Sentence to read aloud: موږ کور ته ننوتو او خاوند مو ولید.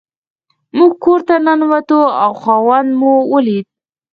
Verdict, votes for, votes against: rejected, 0, 4